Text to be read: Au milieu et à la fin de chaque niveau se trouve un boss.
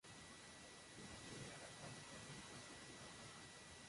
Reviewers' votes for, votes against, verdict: 0, 2, rejected